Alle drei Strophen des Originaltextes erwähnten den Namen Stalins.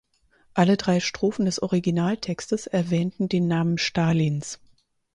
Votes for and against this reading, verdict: 4, 0, accepted